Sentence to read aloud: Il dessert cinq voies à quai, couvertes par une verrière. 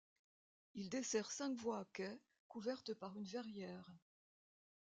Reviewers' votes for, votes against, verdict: 2, 1, accepted